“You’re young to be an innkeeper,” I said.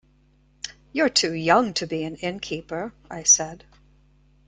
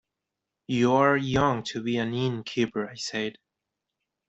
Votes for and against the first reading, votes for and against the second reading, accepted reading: 1, 2, 2, 0, second